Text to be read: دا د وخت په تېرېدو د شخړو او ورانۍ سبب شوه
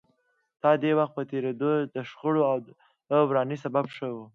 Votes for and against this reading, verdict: 2, 0, accepted